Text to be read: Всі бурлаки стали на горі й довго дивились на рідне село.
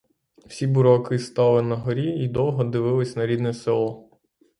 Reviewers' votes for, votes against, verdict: 6, 3, accepted